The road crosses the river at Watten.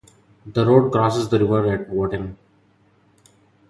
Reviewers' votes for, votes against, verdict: 0, 2, rejected